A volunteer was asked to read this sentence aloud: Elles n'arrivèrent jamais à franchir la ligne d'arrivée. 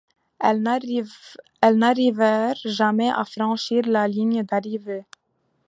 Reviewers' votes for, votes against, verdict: 0, 2, rejected